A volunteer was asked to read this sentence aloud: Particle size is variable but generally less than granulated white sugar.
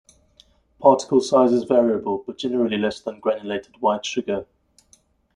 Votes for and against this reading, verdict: 1, 2, rejected